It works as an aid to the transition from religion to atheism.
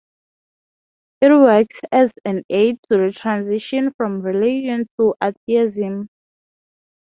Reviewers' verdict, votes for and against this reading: rejected, 0, 6